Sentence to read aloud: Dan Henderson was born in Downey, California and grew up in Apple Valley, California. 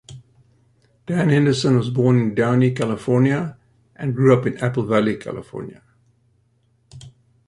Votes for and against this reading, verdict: 2, 0, accepted